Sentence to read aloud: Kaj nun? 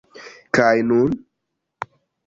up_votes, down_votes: 1, 2